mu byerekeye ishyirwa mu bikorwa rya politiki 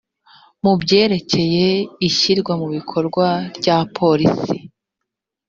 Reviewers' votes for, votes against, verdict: 2, 0, accepted